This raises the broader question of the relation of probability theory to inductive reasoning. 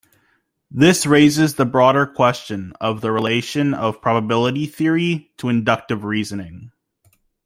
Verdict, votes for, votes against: rejected, 1, 2